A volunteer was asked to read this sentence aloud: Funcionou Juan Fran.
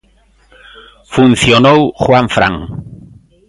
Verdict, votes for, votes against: accepted, 2, 0